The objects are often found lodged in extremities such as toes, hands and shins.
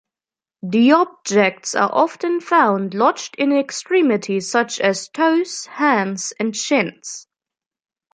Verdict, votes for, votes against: accepted, 2, 0